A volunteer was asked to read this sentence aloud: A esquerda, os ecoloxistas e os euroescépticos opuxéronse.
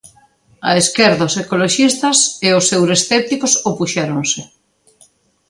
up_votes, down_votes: 2, 0